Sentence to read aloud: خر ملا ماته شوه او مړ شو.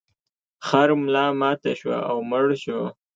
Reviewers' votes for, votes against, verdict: 2, 0, accepted